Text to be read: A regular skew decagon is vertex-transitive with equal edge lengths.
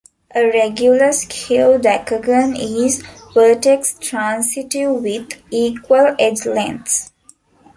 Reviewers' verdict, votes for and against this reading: accepted, 2, 0